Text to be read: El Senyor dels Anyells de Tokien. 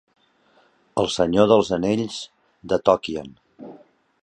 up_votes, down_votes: 2, 0